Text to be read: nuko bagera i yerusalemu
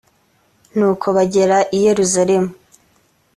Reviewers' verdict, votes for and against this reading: accepted, 2, 0